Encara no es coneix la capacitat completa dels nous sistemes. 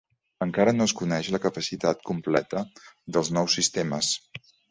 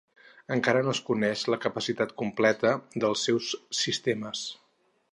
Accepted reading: first